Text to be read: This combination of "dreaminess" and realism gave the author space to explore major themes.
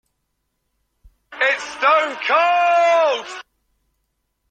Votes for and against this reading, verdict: 0, 2, rejected